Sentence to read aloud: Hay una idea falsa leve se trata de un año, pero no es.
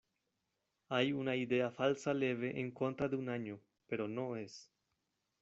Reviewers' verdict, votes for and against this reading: rejected, 1, 2